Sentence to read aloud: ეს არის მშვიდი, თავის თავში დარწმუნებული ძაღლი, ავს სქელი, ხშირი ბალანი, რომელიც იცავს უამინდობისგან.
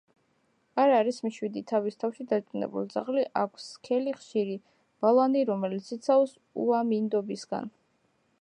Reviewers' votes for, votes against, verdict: 0, 2, rejected